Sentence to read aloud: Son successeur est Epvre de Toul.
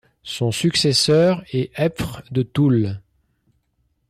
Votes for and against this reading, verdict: 2, 0, accepted